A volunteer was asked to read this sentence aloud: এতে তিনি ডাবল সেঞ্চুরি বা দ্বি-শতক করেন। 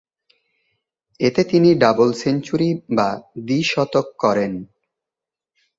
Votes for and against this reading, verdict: 5, 0, accepted